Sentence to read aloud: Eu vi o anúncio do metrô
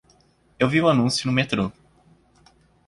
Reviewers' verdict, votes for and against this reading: rejected, 1, 2